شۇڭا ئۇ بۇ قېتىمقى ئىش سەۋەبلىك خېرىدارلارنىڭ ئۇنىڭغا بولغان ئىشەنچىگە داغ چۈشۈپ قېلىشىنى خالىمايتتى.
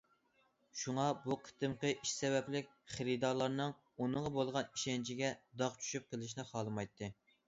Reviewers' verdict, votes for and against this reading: rejected, 0, 2